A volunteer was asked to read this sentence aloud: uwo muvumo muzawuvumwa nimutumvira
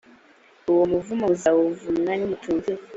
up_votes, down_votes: 2, 0